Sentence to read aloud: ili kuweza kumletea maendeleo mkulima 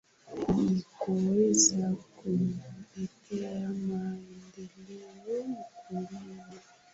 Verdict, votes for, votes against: rejected, 0, 2